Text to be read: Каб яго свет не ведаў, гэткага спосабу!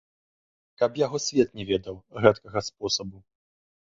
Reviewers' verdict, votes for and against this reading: accepted, 2, 0